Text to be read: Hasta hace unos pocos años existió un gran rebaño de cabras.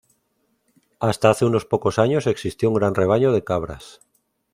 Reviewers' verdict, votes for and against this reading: accepted, 2, 0